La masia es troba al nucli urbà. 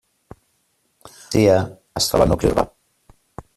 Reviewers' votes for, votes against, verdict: 0, 2, rejected